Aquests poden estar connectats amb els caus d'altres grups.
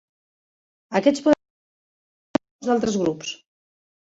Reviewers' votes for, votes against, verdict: 0, 4, rejected